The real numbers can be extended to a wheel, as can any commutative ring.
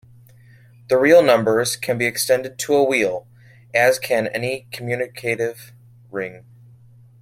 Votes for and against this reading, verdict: 1, 2, rejected